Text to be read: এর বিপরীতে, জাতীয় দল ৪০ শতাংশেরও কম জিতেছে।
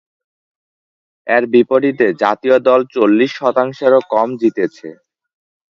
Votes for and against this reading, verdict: 0, 2, rejected